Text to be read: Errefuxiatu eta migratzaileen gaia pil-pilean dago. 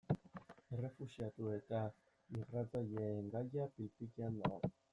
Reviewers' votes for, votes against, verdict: 2, 0, accepted